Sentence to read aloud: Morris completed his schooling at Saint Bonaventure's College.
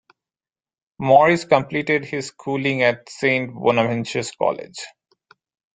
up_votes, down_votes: 2, 0